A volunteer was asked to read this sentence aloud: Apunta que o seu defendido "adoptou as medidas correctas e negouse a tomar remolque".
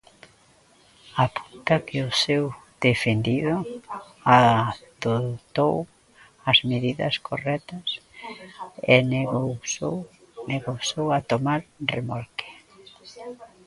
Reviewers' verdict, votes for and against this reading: rejected, 0, 2